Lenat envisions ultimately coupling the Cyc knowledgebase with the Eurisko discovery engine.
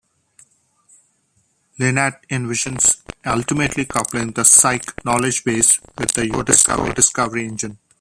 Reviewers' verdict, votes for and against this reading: rejected, 1, 2